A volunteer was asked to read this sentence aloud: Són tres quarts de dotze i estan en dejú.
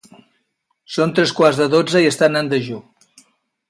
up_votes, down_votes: 2, 0